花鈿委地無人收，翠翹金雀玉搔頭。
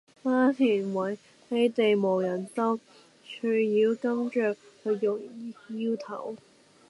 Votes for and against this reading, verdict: 0, 2, rejected